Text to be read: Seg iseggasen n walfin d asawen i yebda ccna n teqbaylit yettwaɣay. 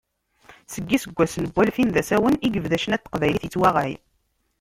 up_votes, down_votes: 0, 2